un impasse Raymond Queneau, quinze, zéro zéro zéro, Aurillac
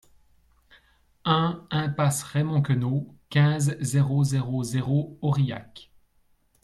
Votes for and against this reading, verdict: 2, 0, accepted